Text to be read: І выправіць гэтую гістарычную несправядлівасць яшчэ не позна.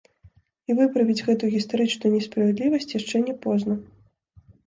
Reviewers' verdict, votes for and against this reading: rejected, 0, 2